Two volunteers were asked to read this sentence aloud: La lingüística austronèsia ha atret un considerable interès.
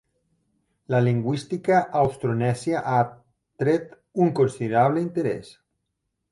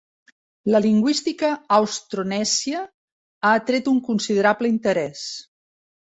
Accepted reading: second